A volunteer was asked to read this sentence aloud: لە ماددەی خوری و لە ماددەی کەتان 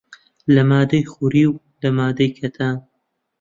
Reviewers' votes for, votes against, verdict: 2, 0, accepted